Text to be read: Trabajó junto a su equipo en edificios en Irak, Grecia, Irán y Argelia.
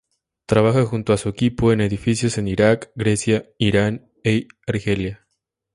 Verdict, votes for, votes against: rejected, 0, 2